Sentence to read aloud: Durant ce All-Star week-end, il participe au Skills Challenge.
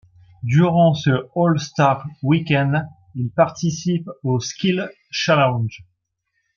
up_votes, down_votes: 1, 2